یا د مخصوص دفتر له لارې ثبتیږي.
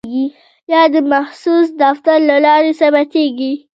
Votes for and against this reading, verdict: 0, 2, rejected